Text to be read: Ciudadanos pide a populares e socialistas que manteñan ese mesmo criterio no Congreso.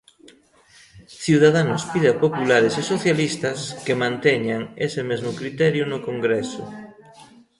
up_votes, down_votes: 1, 2